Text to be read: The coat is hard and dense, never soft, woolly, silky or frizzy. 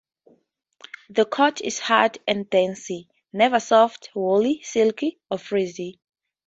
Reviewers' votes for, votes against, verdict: 2, 0, accepted